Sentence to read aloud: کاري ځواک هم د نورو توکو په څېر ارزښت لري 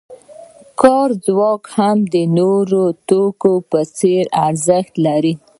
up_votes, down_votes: 2, 0